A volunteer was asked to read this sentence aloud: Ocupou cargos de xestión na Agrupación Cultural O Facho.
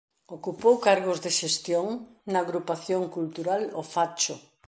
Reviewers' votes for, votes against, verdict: 2, 0, accepted